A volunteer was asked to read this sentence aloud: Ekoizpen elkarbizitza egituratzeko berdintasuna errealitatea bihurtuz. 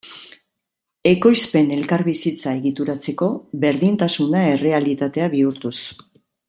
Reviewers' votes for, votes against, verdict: 2, 0, accepted